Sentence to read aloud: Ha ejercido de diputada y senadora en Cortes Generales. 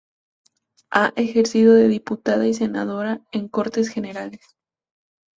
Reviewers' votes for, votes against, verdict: 2, 0, accepted